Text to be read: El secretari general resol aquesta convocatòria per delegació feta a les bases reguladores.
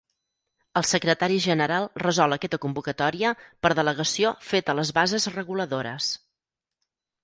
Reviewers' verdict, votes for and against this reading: rejected, 2, 4